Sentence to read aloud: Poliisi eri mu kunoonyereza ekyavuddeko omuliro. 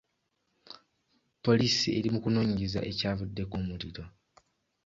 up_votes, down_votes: 2, 0